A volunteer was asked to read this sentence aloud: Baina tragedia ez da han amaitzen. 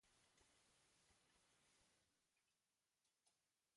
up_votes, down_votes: 0, 2